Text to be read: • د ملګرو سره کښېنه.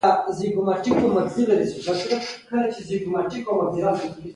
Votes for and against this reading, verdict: 1, 2, rejected